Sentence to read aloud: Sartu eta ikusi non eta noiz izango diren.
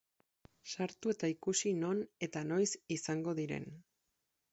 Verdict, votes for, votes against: accepted, 6, 0